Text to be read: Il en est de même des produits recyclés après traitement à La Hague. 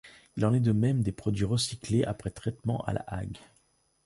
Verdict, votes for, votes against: accepted, 2, 0